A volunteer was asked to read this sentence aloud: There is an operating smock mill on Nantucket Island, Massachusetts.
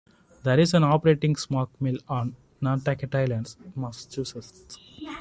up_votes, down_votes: 1, 2